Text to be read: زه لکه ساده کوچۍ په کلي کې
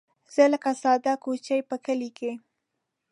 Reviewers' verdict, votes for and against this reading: accepted, 2, 0